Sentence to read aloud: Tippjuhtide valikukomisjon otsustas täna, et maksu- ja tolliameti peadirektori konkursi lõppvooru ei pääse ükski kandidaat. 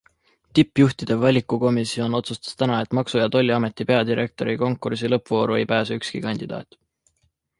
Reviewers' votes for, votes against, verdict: 2, 0, accepted